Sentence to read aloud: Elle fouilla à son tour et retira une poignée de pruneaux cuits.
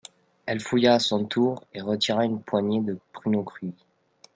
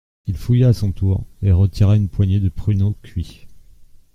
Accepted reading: first